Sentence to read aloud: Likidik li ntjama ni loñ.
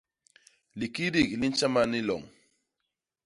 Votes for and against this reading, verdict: 2, 0, accepted